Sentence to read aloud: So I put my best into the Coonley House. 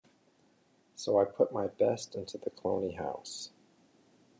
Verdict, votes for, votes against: rejected, 0, 2